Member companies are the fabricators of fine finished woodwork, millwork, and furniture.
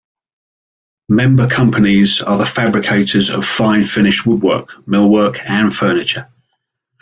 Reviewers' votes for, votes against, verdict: 2, 0, accepted